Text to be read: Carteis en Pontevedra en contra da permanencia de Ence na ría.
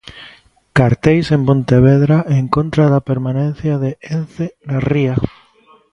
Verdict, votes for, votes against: rejected, 0, 2